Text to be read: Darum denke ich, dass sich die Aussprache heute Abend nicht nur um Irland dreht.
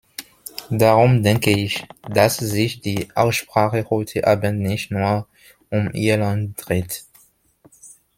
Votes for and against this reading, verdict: 2, 0, accepted